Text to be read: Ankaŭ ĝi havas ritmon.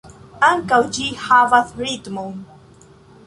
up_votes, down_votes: 0, 2